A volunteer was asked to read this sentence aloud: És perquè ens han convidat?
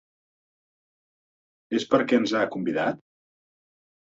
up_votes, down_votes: 1, 2